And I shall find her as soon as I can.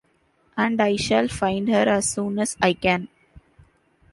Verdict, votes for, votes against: accepted, 2, 0